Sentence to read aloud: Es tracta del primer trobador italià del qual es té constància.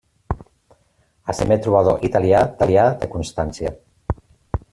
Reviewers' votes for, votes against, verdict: 0, 2, rejected